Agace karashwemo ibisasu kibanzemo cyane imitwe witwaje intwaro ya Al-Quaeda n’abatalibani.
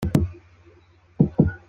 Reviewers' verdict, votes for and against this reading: rejected, 0, 2